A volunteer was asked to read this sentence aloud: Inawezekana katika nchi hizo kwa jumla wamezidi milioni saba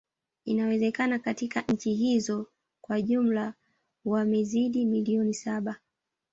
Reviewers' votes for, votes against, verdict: 1, 2, rejected